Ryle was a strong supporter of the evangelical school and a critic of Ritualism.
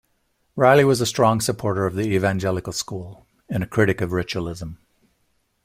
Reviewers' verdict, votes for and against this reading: rejected, 1, 2